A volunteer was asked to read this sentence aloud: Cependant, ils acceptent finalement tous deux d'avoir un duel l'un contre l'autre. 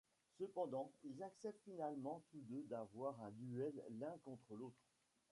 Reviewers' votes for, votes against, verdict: 1, 2, rejected